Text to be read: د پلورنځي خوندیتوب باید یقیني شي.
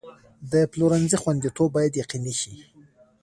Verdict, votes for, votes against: rejected, 1, 2